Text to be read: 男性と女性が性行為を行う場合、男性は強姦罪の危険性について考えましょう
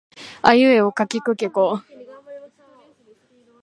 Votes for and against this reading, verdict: 0, 2, rejected